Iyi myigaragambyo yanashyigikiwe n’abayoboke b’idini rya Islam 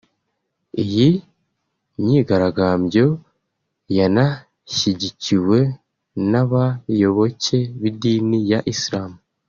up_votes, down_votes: 3, 1